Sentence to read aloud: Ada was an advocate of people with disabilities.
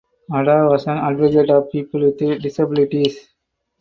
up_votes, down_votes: 2, 4